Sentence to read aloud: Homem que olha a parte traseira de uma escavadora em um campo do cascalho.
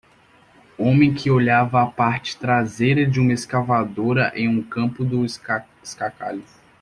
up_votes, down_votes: 0, 2